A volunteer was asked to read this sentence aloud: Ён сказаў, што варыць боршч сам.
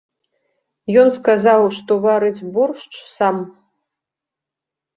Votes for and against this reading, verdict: 2, 0, accepted